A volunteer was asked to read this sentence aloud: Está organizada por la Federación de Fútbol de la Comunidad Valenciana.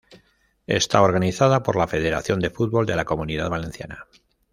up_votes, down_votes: 2, 0